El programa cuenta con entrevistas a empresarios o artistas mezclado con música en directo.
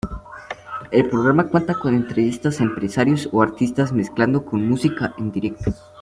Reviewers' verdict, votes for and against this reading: rejected, 0, 2